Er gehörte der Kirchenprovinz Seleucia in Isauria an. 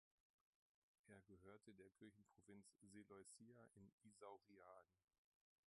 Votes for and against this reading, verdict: 0, 2, rejected